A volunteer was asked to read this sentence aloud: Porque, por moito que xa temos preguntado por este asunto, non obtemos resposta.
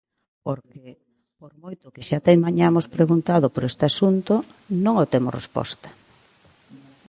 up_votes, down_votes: 0, 2